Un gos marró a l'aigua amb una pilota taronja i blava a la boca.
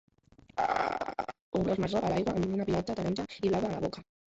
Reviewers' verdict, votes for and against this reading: rejected, 0, 2